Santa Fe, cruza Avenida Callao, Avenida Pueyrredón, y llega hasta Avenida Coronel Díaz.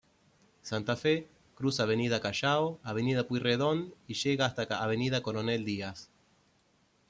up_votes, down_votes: 2, 3